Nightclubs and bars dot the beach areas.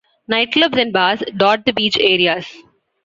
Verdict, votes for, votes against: accepted, 2, 0